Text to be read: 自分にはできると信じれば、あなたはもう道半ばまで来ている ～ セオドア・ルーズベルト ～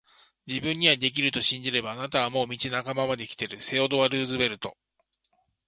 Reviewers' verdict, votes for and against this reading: accepted, 4, 0